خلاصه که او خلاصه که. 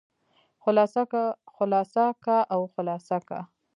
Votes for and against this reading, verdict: 0, 2, rejected